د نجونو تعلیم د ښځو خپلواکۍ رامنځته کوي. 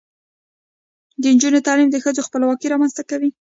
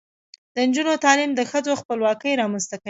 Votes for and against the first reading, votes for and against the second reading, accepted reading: 0, 2, 2, 0, second